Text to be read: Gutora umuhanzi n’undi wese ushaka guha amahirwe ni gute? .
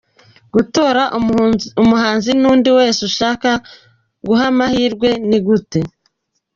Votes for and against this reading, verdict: 0, 2, rejected